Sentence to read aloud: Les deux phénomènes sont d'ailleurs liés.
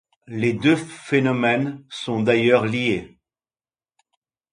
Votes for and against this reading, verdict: 2, 0, accepted